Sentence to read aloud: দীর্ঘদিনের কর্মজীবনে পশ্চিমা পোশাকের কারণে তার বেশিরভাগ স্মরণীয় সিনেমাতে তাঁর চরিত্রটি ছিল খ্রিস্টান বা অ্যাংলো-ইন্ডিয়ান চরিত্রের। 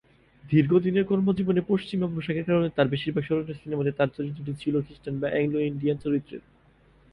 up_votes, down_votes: 2, 8